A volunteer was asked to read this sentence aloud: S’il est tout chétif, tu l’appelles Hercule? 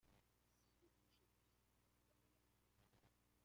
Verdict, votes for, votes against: rejected, 0, 2